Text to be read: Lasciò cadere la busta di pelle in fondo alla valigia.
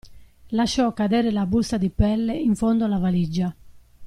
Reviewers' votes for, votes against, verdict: 2, 0, accepted